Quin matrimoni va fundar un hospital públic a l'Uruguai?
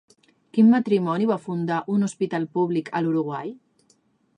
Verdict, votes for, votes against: accepted, 2, 0